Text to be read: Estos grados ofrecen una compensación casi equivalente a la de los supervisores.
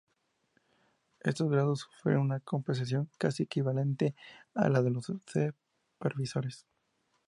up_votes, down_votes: 0, 2